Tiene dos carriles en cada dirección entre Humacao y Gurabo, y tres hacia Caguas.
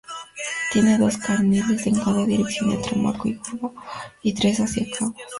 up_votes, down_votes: 0, 2